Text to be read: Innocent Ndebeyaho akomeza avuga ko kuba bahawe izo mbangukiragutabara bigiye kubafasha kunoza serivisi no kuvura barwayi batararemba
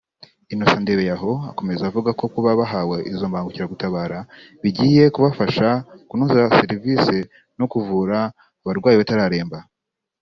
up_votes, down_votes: 2, 1